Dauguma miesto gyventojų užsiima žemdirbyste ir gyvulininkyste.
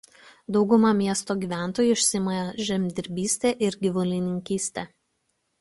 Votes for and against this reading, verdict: 2, 1, accepted